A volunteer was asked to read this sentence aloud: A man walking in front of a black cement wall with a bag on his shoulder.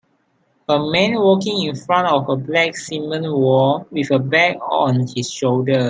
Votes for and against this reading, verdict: 2, 0, accepted